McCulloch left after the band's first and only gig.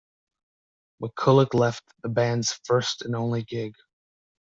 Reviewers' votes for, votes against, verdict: 0, 2, rejected